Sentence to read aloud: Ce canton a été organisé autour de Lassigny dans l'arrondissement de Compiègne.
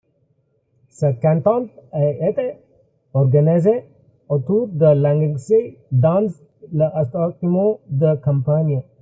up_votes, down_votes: 0, 2